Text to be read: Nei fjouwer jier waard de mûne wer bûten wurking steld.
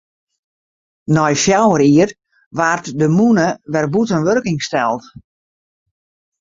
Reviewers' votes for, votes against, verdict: 4, 0, accepted